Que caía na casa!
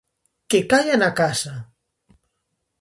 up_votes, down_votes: 0, 2